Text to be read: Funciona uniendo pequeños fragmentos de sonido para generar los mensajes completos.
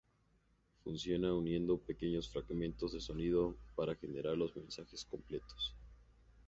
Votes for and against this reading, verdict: 2, 0, accepted